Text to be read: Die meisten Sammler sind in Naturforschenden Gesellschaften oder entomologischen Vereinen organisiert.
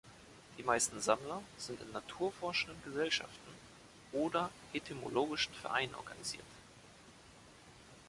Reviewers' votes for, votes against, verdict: 4, 2, accepted